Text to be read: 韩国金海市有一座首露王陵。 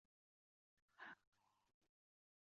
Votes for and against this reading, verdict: 0, 2, rejected